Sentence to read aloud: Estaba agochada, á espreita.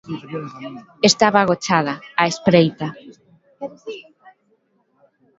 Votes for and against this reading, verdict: 0, 2, rejected